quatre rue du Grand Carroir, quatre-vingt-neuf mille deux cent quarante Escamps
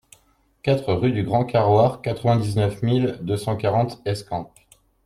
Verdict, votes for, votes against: rejected, 0, 2